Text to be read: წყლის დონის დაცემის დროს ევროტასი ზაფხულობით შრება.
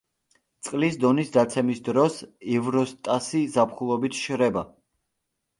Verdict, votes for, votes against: rejected, 0, 2